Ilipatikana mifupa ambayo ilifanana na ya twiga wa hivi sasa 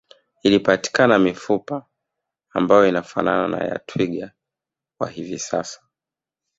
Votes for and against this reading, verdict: 1, 2, rejected